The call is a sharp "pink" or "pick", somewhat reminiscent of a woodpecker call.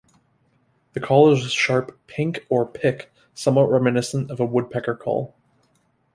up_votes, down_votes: 2, 0